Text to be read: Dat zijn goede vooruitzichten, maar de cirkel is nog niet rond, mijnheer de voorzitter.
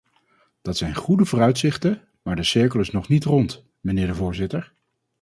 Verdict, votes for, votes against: accepted, 4, 0